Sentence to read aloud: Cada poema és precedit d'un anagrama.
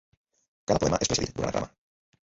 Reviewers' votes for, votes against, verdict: 0, 3, rejected